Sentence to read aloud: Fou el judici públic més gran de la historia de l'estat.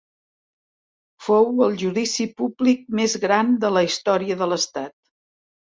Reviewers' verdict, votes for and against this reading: accepted, 4, 0